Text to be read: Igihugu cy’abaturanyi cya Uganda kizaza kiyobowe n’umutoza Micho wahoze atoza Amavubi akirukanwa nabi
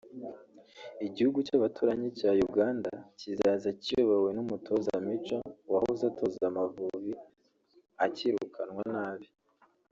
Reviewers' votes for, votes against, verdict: 1, 2, rejected